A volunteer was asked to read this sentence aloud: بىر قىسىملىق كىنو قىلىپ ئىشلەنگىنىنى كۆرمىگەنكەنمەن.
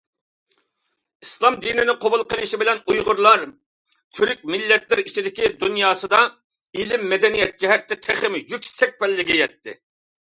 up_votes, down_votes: 0, 2